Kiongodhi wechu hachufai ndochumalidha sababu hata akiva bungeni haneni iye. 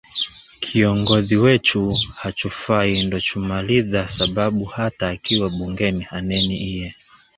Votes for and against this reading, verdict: 1, 2, rejected